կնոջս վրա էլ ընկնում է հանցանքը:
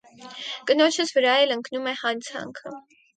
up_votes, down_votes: 4, 0